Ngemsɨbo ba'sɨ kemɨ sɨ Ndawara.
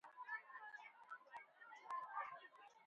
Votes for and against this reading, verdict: 1, 2, rejected